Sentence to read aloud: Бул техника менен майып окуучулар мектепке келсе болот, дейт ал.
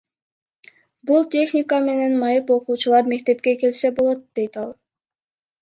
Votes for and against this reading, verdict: 1, 2, rejected